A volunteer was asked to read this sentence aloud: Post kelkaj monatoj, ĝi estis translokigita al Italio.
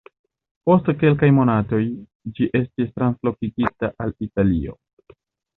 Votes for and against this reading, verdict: 1, 2, rejected